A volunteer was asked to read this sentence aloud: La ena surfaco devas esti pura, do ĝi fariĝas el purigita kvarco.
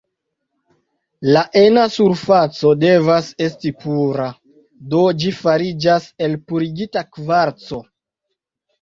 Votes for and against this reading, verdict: 2, 1, accepted